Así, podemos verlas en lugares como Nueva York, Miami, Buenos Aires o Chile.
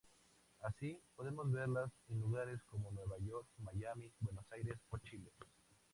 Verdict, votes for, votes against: accepted, 2, 0